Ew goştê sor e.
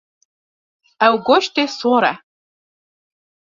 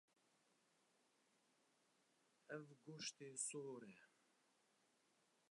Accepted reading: first